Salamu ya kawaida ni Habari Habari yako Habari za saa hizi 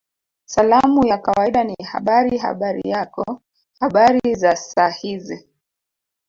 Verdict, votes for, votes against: rejected, 0, 2